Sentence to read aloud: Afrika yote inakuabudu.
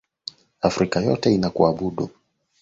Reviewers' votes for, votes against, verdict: 9, 0, accepted